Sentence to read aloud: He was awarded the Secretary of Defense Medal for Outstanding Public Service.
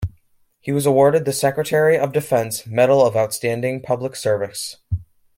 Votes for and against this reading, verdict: 0, 2, rejected